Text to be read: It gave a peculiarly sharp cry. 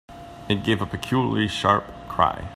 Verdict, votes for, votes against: accepted, 2, 0